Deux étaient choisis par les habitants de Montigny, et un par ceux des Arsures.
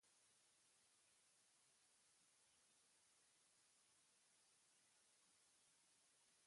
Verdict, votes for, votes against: rejected, 0, 2